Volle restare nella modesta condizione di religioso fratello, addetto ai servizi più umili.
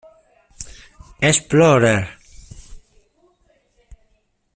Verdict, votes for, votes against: rejected, 0, 2